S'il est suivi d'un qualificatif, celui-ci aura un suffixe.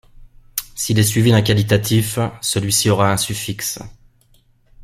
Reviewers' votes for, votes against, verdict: 1, 2, rejected